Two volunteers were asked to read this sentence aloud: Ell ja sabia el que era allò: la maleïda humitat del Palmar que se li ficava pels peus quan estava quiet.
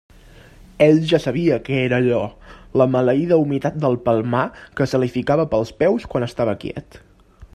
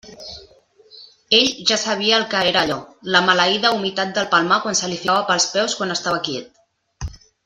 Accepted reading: first